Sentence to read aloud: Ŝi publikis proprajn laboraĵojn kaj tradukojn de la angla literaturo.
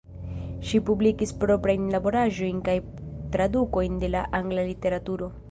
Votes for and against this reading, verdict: 0, 2, rejected